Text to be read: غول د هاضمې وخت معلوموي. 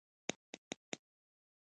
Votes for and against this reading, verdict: 0, 2, rejected